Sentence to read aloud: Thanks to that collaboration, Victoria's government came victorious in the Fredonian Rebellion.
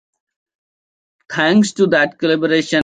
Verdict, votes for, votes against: rejected, 0, 2